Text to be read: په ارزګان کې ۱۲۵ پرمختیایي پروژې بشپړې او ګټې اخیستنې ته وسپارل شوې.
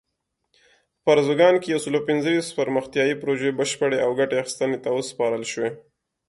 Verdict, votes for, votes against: rejected, 0, 2